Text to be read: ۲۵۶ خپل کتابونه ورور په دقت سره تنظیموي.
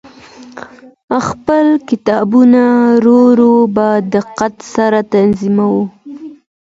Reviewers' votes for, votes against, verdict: 0, 2, rejected